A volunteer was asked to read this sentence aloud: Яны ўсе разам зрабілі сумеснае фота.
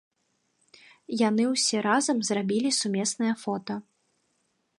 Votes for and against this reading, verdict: 3, 0, accepted